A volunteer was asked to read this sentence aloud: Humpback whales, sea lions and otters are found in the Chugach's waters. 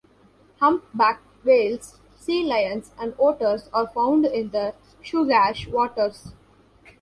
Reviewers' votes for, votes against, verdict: 1, 2, rejected